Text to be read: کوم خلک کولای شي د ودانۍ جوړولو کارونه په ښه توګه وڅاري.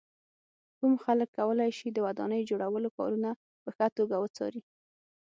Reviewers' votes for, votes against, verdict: 6, 0, accepted